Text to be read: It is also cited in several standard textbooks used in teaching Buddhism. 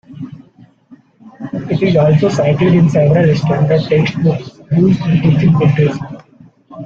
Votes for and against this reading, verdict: 0, 2, rejected